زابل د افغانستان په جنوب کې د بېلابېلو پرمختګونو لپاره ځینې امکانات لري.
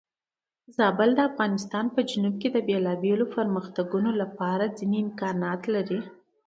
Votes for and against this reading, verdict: 2, 1, accepted